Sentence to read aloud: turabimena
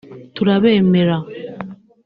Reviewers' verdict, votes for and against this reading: rejected, 0, 2